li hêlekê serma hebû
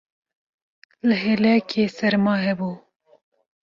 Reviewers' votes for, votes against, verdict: 2, 0, accepted